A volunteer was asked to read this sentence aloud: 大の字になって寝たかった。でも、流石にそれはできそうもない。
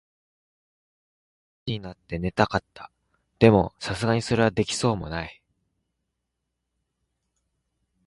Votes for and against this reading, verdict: 2, 0, accepted